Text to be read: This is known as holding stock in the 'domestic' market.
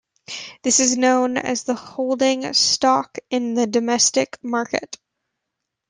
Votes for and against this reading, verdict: 0, 2, rejected